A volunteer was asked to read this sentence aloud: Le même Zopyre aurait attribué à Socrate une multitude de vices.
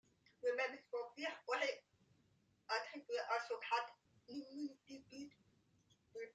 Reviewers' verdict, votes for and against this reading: rejected, 0, 2